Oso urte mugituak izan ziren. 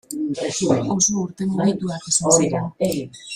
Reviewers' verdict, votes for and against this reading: rejected, 0, 3